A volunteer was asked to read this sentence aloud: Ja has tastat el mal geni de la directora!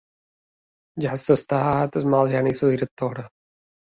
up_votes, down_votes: 2, 0